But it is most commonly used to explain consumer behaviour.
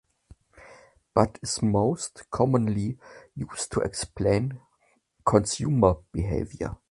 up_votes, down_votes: 0, 2